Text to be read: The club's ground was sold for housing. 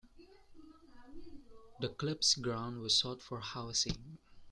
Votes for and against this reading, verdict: 2, 1, accepted